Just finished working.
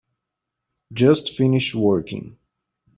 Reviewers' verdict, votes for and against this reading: accepted, 2, 0